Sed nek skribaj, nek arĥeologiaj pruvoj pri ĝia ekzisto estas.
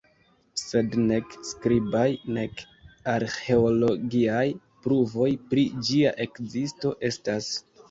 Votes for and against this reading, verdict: 2, 0, accepted